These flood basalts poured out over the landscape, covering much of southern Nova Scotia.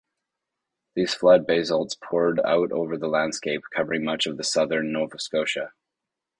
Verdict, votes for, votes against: accepted, 2, 0